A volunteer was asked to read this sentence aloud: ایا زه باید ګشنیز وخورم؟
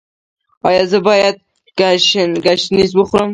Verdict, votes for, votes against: accepted, 2, 0